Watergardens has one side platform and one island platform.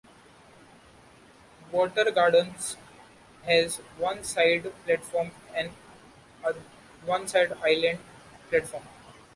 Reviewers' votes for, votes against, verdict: 1, 2, rejected